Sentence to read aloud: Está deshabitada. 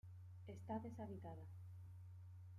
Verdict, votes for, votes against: rejected, 0, 2